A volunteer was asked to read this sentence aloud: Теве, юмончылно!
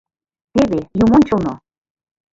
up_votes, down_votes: 1, 2